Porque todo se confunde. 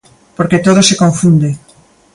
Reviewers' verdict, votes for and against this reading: accepted, 2, 0